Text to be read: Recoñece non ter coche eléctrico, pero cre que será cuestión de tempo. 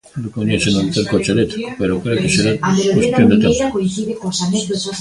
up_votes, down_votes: 0, 2